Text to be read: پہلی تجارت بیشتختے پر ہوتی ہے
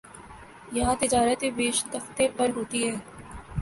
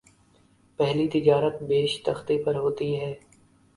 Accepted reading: second